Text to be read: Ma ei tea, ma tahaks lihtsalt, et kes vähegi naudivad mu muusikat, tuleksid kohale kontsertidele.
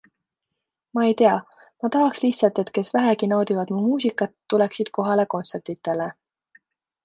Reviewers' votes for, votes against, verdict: 2, 0, accepted